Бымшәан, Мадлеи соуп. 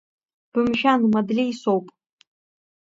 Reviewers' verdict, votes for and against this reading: accepted, 2, 0